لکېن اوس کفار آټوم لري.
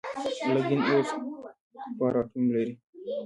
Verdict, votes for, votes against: rejected, 0, 2